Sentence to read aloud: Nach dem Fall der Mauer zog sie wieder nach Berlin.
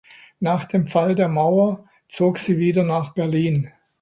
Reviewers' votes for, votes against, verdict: 2, 0, accepted